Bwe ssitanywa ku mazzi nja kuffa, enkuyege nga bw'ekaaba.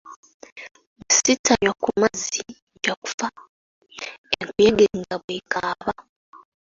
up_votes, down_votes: 1, 2